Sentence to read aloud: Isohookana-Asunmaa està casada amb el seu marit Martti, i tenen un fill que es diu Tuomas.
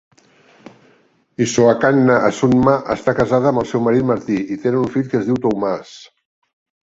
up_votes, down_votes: 0, 2